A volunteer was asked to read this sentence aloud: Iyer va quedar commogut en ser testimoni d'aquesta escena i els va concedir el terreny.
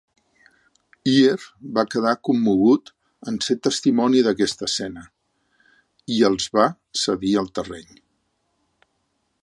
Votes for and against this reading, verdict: 0, 3, rejected